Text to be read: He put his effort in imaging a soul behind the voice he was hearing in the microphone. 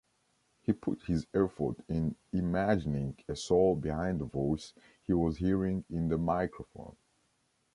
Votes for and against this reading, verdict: 1, 2, rejected